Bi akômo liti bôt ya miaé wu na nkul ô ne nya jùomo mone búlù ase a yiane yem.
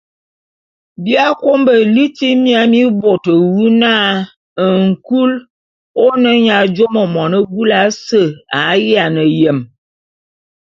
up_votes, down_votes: 2, 0